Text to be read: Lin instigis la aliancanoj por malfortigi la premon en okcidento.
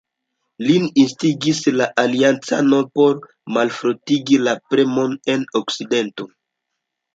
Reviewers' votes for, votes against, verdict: 2, 1, accepted